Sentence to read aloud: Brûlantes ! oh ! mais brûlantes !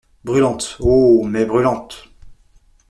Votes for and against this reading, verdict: 2, 0, accepted